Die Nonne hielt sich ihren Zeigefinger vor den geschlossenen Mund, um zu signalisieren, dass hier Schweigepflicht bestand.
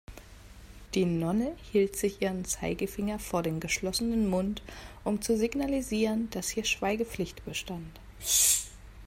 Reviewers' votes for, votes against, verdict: 1, 2, rejected